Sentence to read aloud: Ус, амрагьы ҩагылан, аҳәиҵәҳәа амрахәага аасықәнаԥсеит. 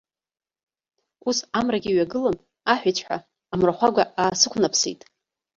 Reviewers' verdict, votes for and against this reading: rejected, 1, 2